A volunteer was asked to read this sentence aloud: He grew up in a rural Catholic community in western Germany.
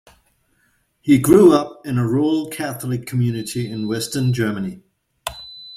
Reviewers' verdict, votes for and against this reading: rejected, 0, 2